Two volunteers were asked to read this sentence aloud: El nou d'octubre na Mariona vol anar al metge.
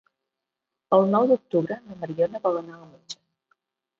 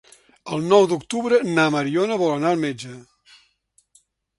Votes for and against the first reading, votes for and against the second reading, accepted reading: 1, 2, 3, 0, second